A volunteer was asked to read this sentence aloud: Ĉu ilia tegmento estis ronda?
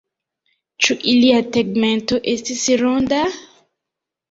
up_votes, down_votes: 2, 0